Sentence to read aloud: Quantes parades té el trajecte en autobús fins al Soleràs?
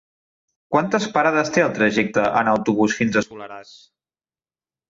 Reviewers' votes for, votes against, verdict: 1, 2, rejected